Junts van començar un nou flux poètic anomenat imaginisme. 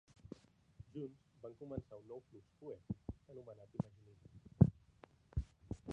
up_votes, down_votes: 0, 3